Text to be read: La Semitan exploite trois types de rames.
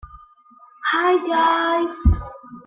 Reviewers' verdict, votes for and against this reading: rejected, 0, 2